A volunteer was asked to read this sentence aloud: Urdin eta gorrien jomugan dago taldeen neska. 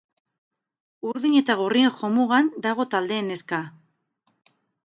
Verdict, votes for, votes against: rejected, 0, 2